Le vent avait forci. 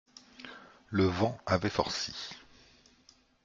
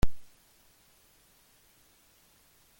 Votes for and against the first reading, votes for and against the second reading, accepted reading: 2, 0, 0, 2, first